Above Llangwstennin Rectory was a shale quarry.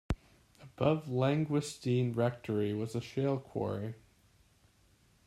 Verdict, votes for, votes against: accepted, 2, 1